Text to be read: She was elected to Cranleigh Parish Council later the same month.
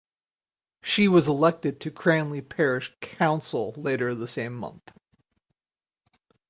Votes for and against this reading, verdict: 4, 0, accepted